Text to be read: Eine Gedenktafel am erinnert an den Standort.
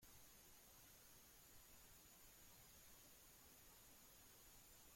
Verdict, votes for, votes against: rejected, 0, 2